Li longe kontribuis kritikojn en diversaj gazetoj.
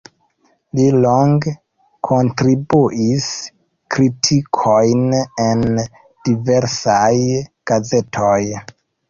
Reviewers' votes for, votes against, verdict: 0, 2, rejected